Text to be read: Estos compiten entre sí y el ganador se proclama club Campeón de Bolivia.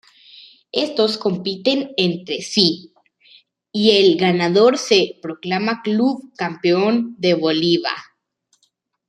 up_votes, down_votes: 1, 2